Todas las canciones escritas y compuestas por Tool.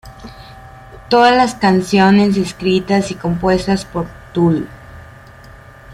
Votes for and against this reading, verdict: 2, 0, accepted